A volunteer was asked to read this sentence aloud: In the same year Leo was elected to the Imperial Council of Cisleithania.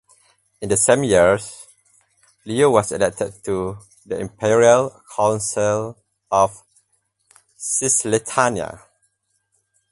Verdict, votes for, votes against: rejected, 0, 2